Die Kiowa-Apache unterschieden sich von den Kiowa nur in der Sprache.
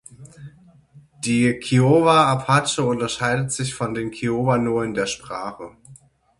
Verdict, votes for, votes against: rejected, 3, 9